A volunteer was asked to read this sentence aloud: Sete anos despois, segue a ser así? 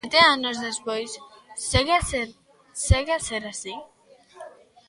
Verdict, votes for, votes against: rejected, 0, 2